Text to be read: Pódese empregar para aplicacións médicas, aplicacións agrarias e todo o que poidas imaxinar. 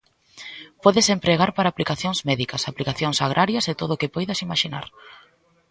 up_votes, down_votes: 2, 0